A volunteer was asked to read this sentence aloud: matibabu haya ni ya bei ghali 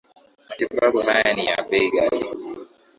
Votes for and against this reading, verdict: 2, 0, accepted